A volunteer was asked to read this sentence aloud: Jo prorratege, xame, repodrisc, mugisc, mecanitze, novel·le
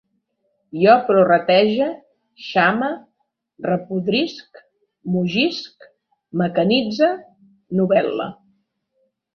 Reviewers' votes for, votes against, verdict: 2, 0, accepted